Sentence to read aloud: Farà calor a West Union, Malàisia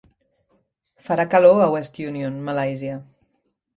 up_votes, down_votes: 3, 0